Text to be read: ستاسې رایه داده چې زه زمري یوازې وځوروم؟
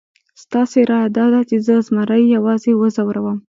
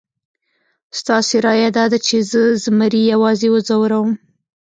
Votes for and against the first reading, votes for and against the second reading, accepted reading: 2, 0, 0, 2, first